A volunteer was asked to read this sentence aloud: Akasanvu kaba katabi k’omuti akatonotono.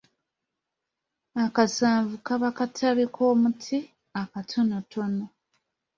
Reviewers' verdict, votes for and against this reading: accepted, 2, 0